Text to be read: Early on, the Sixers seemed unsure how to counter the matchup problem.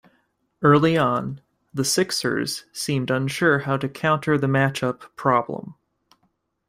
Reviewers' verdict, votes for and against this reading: accepted, 2, 0